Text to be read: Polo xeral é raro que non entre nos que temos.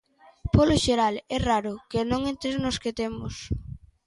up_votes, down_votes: 1, 2